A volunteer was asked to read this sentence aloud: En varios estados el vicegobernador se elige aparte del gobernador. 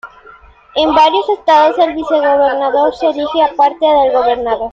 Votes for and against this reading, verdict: 2, 0, accepted